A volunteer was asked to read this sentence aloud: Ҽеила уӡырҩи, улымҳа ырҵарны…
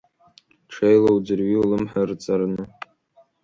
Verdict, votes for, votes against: accepted, 2, 0